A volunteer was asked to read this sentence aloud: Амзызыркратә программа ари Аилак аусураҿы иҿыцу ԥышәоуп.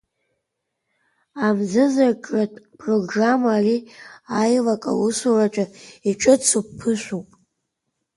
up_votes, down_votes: 2, 1